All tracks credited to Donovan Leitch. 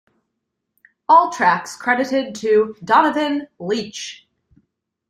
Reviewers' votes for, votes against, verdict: 2, 0, accepted